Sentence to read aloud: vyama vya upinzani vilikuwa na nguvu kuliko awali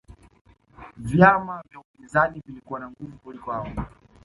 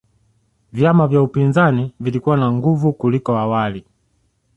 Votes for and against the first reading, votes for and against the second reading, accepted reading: 0, 2, 2, 0, second